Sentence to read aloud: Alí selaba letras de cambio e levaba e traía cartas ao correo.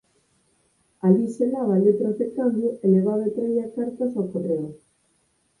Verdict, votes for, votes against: accepted, 4, 0